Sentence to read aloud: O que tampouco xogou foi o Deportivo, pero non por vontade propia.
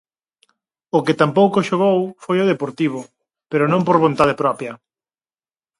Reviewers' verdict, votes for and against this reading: accepted, 4, 0